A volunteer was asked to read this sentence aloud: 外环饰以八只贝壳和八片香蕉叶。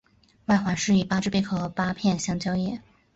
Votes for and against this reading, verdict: 7, 0, accepted